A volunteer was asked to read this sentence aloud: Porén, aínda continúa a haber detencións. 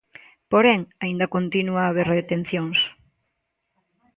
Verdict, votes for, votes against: rejected, 0, 3